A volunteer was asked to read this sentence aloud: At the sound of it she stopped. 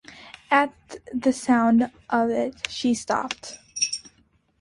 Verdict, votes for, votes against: accepted, 2, 0